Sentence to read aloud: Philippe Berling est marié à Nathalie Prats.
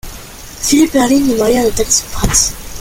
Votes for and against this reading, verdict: 1, 2, rejected